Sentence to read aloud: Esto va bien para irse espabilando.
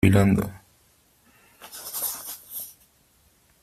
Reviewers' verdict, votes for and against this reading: rejected, 0, 2